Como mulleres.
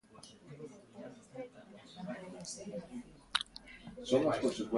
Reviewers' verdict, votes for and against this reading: rejected, 0, 2